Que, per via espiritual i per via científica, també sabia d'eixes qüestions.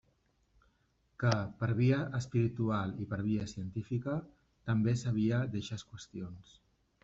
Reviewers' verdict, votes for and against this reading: accepted, 2, 0